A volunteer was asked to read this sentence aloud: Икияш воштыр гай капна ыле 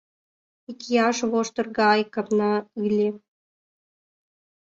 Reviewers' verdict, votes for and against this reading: rejected, 1, 2